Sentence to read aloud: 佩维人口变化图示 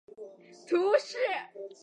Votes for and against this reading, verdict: 0, 2, rejected